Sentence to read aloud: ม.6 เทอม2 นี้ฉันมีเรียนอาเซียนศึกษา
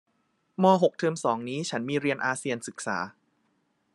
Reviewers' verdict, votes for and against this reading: rejected, 0, 2